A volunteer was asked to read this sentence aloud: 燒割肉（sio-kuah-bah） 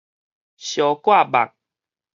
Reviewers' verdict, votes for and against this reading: rejected, 0, 4